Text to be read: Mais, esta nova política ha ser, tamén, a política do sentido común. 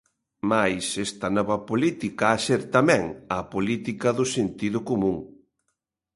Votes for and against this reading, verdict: 2, 0, accepted